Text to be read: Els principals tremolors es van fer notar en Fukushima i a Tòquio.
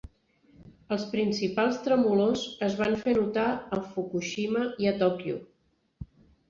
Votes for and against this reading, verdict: 2, 0, accepted